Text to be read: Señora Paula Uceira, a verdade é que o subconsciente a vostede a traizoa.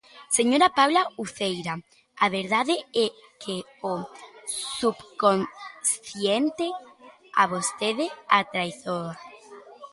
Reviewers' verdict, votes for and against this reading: rejected, 1, 2